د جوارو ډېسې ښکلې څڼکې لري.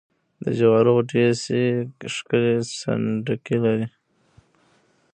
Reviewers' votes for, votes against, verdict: 0, 2, rejected